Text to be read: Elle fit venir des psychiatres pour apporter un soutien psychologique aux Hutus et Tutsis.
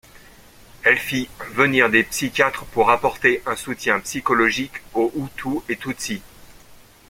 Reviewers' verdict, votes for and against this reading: accepted, 2, 1